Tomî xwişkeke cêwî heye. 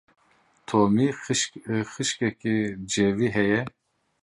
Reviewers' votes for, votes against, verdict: 0, 2, rejected